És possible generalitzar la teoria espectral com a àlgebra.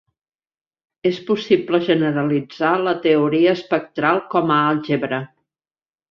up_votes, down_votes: 2, 0